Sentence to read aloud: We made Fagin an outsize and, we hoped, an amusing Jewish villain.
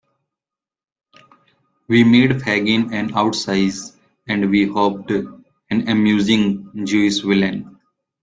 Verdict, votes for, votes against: accepted, 2, 0